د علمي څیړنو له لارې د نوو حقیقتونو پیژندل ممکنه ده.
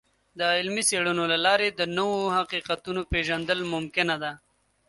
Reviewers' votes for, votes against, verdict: 2, 0, accepted